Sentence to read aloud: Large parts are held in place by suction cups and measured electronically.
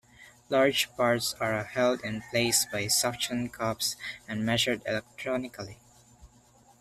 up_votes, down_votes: 2, 0